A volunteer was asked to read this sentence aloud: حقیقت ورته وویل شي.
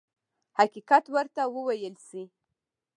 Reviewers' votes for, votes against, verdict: 0, 2, rejected